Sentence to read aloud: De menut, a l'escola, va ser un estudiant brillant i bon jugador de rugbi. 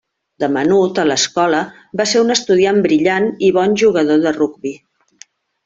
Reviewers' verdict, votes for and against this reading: accepted, 3, 0